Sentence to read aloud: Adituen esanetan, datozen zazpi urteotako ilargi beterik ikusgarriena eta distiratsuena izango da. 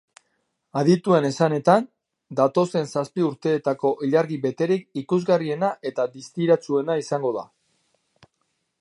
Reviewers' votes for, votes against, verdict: 0, 2, rejected